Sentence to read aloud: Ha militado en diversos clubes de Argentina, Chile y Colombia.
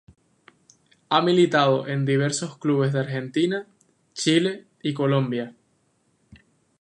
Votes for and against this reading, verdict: 2, 0, accepted